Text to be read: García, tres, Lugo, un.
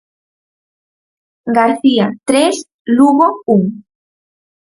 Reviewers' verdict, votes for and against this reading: accepted, 4, 0